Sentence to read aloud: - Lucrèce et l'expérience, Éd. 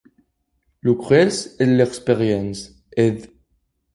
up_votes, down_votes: 0, 2